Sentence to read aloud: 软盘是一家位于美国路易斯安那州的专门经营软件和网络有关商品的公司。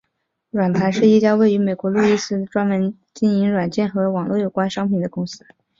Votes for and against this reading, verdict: 6, 4, accepted